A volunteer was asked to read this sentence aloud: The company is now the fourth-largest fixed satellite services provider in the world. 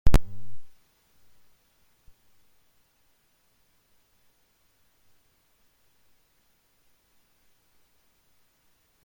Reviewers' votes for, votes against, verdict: 0, 2, rejected